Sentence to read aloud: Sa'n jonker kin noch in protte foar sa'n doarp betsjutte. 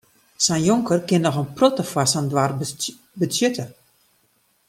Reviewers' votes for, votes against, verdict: 1, 2, rejected